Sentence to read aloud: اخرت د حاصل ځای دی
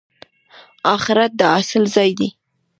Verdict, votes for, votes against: rejected, 1, 2